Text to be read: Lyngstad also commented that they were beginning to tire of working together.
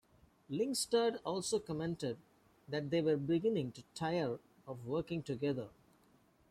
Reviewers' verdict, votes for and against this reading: accepted, 2, 0